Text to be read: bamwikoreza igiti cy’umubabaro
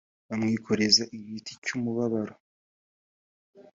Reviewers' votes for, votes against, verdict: 3, 0, accepted